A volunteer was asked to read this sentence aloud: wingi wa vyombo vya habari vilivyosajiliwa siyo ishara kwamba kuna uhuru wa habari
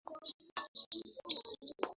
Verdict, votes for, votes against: rejected, 1, 3